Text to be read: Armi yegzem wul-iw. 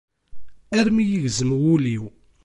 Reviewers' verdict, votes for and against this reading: accepted, 2, 0